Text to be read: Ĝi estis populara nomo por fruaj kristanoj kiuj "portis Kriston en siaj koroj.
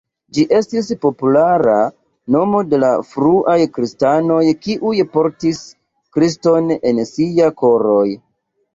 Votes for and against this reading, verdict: 2, 1, accepted